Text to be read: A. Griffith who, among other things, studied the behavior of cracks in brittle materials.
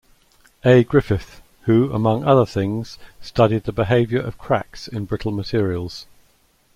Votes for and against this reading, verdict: 2, 0, accepted